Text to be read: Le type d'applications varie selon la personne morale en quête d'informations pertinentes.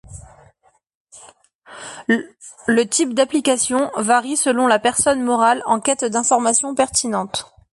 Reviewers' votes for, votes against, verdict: 1, 2, rejected